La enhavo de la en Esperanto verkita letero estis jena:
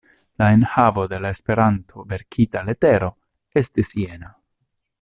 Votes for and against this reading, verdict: 1, 2, rejected